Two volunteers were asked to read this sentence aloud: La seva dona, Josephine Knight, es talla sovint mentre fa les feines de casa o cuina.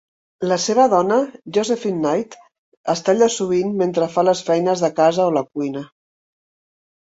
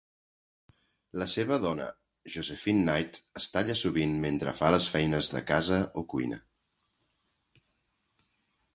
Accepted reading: second